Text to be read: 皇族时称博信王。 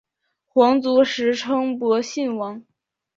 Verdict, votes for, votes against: accepted, 4, 1